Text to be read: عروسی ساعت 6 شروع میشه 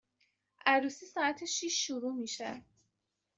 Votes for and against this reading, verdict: 0, 2, rejected